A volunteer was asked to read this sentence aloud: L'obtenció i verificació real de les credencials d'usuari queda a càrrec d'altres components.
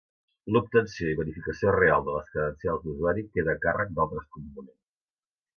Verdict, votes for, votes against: rejected, 1, 2